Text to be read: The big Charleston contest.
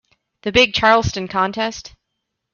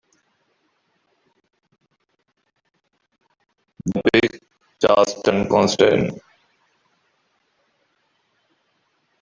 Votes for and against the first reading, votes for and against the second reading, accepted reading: 3, 0, 0, 3, first